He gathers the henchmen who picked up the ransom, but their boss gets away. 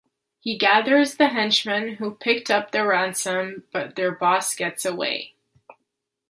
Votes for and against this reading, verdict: 2, 0, accepted